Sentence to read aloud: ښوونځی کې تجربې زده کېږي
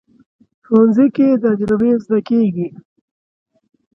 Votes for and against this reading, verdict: 5, 1, accepted